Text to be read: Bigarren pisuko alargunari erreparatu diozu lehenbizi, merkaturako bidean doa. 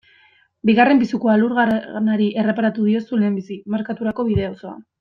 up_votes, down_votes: 1, 2